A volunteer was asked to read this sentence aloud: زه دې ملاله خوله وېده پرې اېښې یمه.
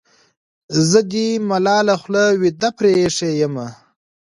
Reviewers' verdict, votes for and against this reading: accepted, 2, 0